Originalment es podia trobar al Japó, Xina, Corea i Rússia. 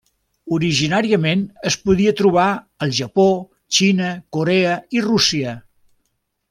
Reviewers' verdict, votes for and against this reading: rejected, 0, 2